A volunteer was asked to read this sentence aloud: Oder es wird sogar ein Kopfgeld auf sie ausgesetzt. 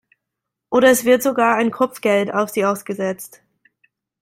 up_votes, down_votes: 2, 1